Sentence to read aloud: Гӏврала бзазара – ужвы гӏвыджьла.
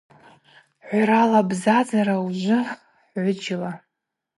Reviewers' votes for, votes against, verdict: 4, 0, accepted